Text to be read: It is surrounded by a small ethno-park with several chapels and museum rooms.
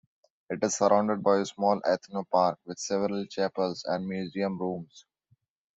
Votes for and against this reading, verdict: 2, 0, accepted